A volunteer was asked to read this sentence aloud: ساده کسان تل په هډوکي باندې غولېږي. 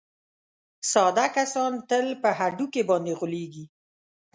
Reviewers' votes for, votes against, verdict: 2, 0, accepted